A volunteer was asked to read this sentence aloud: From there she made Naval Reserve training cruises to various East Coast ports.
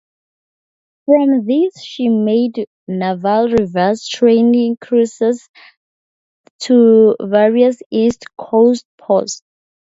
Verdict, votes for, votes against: rejected, 0, 2